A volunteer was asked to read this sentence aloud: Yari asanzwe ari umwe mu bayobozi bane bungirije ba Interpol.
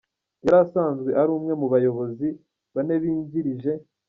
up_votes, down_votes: 0, 2